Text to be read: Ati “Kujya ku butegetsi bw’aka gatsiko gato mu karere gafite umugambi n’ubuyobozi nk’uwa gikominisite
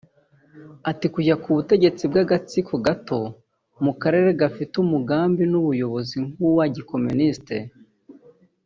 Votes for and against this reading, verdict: 1, 2, rejected